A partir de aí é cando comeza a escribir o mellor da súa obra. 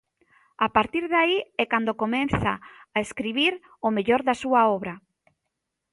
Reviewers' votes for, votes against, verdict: 1, 2, rejected